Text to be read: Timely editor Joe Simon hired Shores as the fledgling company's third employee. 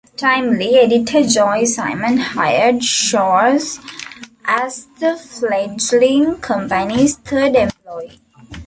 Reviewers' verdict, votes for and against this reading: accepted, 2, 1